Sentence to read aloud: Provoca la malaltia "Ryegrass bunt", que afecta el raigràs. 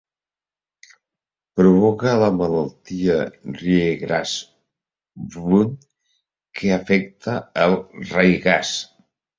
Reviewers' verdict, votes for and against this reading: rejected, 0, 2